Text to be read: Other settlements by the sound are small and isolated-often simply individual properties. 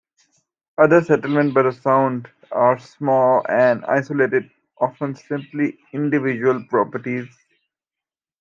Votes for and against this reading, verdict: 2, 0, accepted